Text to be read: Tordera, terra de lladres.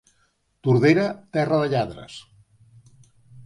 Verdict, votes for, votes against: accepted, 2, 0